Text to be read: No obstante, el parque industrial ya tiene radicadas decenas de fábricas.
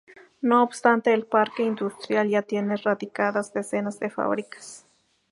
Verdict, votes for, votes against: rejected, 0, 2